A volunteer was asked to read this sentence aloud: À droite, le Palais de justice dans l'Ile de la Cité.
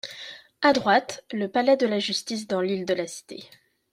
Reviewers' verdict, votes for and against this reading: rejected, 1, 2